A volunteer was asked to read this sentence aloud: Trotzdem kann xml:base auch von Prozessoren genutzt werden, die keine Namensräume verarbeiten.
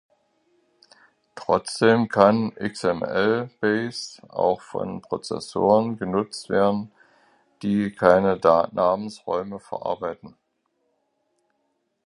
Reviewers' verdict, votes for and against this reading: rejected, 0, 2